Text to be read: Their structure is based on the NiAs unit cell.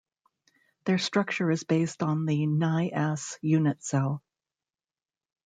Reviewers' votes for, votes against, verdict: 2, 0, accepted